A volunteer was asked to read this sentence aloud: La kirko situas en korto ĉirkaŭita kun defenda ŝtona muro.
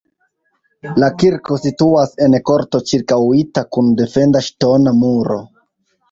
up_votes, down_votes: 2, 0